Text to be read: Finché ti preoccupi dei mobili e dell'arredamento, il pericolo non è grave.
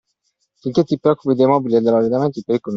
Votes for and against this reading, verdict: 0, 2, rejected